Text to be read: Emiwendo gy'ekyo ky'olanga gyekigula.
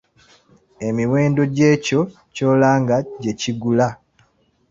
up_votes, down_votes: 2, 0